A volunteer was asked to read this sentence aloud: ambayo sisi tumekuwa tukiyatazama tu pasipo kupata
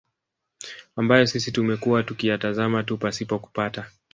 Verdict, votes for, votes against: rejected, 1, 2